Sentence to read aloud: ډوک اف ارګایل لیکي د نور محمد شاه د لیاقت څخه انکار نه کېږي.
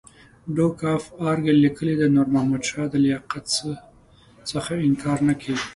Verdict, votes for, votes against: accepted, 5, 1